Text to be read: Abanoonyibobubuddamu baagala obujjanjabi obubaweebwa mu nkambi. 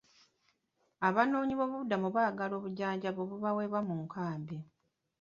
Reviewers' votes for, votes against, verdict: 2, 0, accepted